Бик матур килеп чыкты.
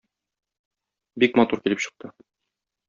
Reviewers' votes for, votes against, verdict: 2, 0, accepted